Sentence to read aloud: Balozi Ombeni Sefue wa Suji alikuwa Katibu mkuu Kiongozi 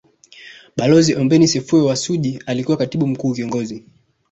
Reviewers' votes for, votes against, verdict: 2, 0, accepted